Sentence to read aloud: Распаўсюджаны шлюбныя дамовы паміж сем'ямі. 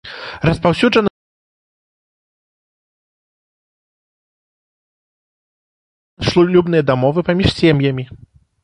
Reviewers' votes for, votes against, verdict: 0, 2, rejected